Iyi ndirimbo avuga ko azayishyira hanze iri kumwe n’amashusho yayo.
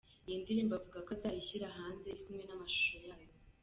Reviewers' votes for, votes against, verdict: 1, 2, rejected